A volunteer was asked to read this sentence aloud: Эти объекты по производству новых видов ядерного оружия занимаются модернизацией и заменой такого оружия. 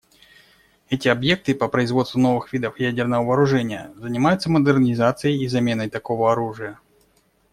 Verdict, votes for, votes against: rejected, 1, 2